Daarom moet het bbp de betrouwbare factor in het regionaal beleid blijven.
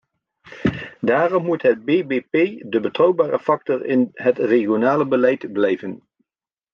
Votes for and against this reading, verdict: 1, 2, rejected